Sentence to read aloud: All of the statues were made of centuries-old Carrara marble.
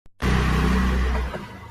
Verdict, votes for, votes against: rejected, 0, 2